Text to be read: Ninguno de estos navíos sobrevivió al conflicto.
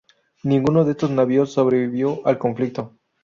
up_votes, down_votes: 2, 2